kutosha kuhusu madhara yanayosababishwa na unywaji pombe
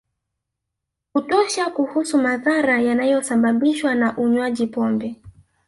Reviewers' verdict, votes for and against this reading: rejected, 0, 2